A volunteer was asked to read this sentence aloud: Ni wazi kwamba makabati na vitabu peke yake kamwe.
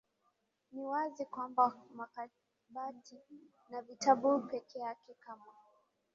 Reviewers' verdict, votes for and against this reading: rejected, 1, 2